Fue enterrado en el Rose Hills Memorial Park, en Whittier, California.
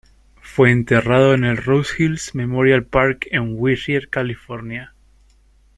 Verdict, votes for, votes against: accepted, 2, 0